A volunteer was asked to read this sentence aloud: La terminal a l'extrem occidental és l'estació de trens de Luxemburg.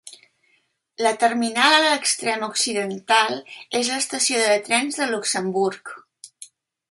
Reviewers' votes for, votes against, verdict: 2, 0, accepted